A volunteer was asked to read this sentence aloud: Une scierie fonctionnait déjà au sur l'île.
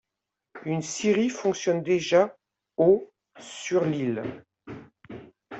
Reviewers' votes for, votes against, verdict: 1, 2, rejected